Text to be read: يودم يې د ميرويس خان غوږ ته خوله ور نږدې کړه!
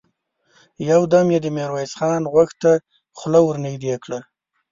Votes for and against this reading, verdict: 2, 0, accepted